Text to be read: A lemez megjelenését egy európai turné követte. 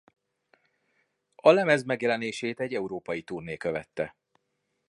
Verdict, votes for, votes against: accepted, 2, 0